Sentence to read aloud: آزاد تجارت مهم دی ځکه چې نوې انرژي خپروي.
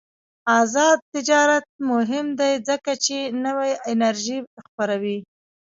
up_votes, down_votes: 0, 2